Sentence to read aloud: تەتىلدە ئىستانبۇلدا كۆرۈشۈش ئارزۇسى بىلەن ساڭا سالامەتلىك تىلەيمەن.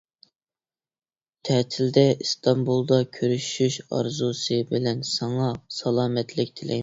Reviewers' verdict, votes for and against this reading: rejected, 1, 2